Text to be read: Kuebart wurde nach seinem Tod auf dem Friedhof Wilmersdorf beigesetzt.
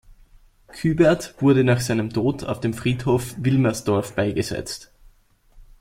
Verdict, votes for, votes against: accepted, 2, 1